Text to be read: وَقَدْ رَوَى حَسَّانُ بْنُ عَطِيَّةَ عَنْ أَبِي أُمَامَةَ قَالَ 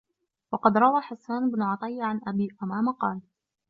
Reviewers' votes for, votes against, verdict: 2, 0, accepted